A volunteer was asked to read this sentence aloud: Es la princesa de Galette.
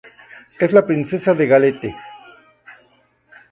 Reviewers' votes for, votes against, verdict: 2, 0, accepted